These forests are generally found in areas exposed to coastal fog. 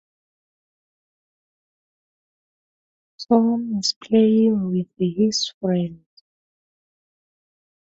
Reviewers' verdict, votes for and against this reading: rejected, 0, 2